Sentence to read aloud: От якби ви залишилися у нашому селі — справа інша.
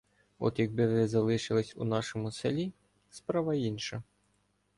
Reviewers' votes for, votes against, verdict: 1, 2, rejected